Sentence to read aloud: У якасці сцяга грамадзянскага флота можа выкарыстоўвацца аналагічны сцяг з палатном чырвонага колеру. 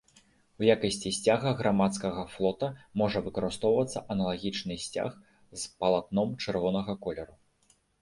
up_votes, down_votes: 1, 2